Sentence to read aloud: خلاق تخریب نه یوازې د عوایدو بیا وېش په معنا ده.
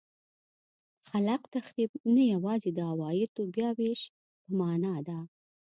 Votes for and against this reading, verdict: 3, 0, accepted